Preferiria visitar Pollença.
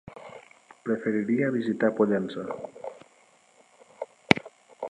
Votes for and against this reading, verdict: 1, 2, rejected